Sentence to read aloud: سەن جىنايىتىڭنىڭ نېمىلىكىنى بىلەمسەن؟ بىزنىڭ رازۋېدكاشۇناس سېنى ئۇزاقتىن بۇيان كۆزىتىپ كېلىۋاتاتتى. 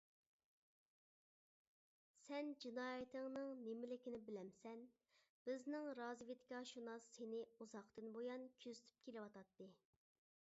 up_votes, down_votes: 1, 2